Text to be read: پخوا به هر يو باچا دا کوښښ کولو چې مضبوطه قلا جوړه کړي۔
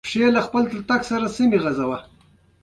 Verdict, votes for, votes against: accepted, 2, 0